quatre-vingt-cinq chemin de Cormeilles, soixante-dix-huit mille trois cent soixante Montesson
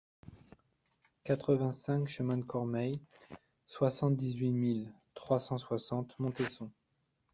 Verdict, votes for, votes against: accepted, 2, 0